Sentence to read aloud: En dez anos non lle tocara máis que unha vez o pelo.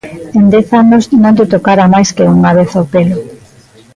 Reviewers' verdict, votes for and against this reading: accepted, 2, 0